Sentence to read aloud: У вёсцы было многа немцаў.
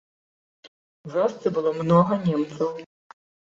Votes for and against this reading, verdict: 1, 2, rejected